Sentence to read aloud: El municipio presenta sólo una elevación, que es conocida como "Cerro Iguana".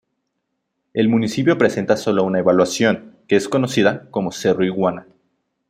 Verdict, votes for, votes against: accepted, 2, 0